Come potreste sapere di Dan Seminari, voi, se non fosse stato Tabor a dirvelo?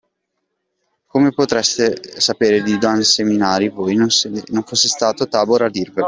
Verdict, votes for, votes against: rejected, 1, 2